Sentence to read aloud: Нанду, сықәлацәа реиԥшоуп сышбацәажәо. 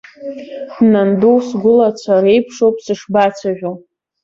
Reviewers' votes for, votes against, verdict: 1, 2, rejected